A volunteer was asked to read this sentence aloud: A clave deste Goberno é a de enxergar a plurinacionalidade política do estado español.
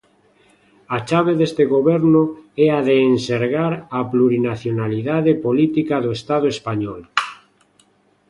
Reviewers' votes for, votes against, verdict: 1, 2, rejected